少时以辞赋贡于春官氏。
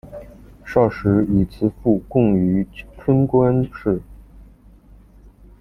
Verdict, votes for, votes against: rejected, 1, 2